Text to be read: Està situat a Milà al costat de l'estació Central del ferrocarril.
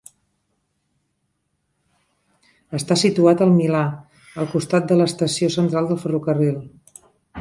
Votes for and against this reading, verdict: 0, 2, rejected